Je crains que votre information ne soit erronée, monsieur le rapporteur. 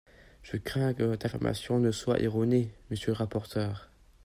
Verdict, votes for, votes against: accepted, 2, 0